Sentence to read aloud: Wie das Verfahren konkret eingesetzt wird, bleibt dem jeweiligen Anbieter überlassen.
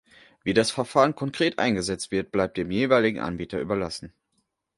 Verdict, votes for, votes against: accepted, 2, 0